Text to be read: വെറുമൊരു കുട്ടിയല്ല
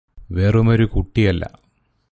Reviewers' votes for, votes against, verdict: 0, 2, rejected